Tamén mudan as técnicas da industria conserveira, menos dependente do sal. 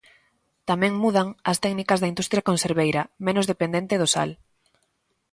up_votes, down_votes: 2, 0